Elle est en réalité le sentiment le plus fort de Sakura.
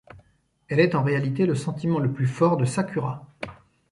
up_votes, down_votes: 3, 0